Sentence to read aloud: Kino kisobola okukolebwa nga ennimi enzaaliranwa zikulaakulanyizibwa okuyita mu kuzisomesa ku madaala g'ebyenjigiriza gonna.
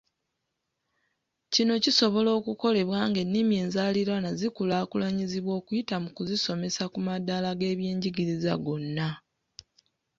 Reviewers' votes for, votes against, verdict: 2, 1, accepted